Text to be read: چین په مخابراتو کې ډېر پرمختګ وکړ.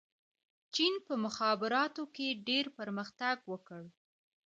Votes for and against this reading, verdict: 2, 0, accepted